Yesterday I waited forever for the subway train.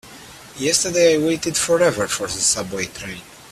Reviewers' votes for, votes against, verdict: 3, 1, accepted